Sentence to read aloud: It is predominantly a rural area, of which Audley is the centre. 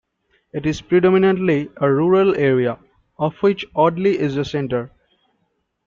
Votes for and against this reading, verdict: 2, 0, accepted